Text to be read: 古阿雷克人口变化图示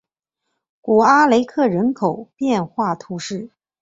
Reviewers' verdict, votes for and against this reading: accepted, 4, 0